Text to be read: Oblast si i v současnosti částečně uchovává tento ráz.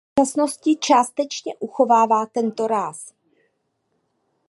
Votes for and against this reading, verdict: 0, 2, rejected